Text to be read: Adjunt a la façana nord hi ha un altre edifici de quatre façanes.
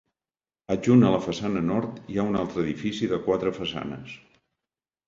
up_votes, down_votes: 2, 0